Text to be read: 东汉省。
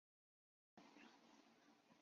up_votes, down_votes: 0, 3